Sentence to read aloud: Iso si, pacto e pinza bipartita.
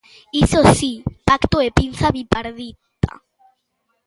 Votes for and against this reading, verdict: 0, 4, rejected